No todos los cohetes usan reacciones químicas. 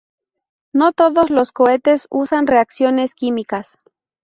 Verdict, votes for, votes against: accepted, 2, 0